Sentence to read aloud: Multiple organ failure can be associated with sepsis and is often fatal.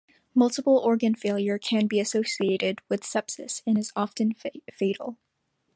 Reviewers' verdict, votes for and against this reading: accepted, 2, 0